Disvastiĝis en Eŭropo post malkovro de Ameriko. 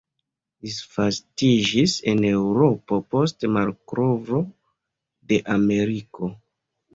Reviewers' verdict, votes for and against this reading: accepted, 2, 1